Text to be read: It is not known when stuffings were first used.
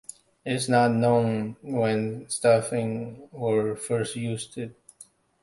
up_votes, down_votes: 0, 2